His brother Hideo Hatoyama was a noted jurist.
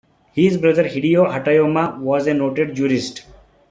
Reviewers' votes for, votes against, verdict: 3, 1, accepted